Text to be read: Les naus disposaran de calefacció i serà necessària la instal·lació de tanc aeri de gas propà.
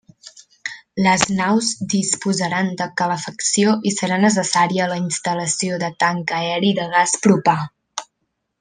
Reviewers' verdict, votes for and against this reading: rejected, 1, 2